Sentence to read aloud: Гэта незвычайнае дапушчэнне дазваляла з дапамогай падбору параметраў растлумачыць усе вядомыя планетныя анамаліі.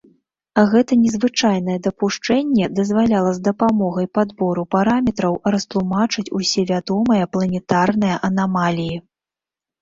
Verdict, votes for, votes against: rejected, 0, 2